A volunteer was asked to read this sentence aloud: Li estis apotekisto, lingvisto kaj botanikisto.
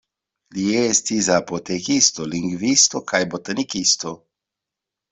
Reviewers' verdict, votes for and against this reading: accepted, 2, 0